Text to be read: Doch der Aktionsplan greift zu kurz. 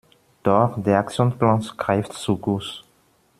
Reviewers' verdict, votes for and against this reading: rejected, 1, 2